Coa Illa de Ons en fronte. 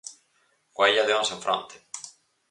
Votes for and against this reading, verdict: 4, 0, accepted